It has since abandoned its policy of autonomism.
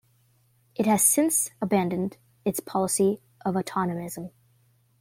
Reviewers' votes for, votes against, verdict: 2, 0, accepted